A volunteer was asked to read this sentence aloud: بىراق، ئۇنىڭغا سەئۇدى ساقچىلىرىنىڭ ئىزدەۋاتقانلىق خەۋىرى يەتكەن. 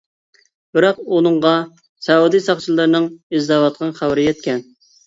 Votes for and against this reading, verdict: 0, 2, rejected